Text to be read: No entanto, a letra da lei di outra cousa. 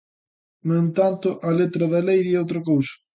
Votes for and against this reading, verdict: 2, 0, accepted